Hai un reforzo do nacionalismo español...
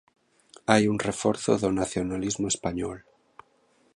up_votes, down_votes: 2, 0